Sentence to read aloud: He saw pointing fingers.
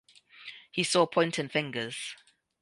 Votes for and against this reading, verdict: 0, 2, rejected